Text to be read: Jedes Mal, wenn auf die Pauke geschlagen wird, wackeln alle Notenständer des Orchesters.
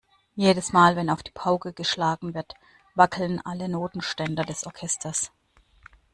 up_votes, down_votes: 2, 1